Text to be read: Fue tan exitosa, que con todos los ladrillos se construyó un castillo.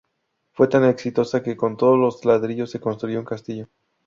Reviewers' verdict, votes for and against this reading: rejected, 2, 2